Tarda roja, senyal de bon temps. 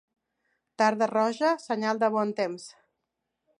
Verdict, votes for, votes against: accepted, 3, 0